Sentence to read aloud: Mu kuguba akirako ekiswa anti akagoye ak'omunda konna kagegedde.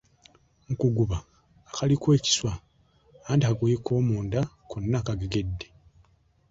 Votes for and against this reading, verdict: 0, 2, rejected